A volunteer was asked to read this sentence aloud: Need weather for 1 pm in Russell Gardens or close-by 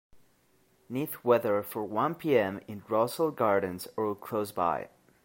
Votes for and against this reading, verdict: 0, 2, rejected